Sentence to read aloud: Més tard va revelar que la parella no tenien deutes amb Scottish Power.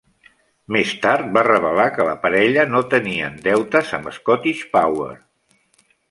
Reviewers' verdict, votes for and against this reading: accepted, 2, 1